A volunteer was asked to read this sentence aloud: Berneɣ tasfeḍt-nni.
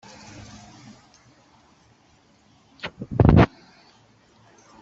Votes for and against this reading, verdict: 0, 2, rejected